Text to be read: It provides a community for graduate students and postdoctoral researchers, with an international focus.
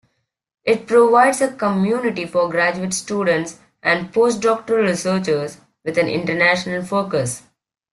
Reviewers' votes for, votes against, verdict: 2, 0, accepted